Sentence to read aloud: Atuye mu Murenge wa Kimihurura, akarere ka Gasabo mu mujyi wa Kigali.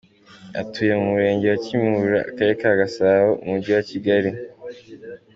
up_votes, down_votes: 2, 0